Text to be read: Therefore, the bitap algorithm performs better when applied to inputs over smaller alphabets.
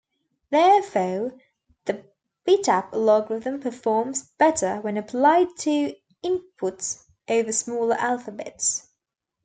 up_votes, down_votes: 0, 2